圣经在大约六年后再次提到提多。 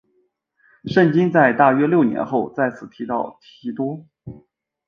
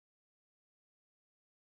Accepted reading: first